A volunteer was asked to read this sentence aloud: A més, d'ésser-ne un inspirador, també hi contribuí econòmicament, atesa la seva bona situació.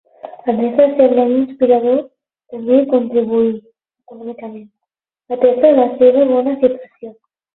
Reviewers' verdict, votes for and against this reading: rejected, 0, 12